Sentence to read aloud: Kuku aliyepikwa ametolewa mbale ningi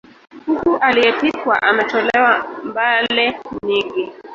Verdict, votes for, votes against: rejected, 1, 3